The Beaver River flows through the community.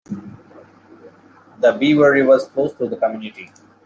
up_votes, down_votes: 2, 0